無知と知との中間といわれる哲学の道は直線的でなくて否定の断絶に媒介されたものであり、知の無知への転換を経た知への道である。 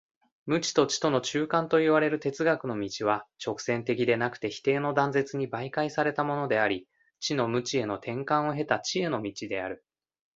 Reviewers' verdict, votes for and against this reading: accepted, 2, 0